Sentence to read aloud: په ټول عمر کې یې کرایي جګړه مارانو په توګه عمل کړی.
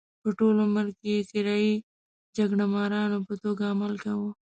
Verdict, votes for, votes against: rejected, 0, 2